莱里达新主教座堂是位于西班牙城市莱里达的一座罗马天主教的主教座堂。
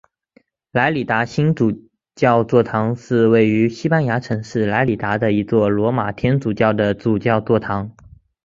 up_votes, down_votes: 3, 0